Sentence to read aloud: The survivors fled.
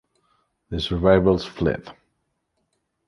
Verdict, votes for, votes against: accepted, 2, 0